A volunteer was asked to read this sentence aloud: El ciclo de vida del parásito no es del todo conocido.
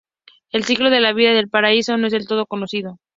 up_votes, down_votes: 0, 4